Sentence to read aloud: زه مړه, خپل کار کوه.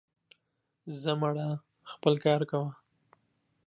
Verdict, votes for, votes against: accepted, 2, 0